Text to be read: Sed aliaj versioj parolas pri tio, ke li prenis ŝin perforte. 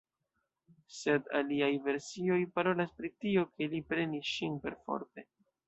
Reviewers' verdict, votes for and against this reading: accepted, 2, 0